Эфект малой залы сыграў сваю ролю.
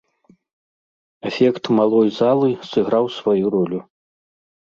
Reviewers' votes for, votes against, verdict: 2, 0, accepted